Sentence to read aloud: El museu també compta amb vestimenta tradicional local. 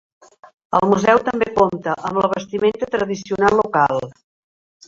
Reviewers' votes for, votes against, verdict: 0, 2, rejected